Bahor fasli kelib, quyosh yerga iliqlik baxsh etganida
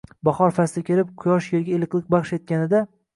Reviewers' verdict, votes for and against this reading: accepted, 2, 0